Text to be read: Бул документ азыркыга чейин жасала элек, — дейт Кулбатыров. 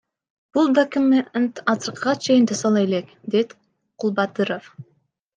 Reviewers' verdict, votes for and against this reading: rejected, 1, 2